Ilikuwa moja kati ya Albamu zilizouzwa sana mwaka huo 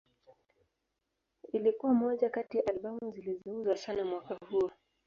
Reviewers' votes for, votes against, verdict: 0, 2, rejected